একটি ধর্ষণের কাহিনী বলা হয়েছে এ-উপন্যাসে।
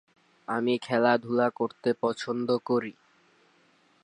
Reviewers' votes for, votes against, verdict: 5, 23, rejected